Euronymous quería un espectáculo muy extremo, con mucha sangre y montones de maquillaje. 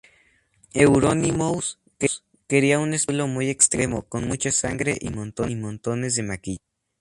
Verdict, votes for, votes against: rejected, 0, 2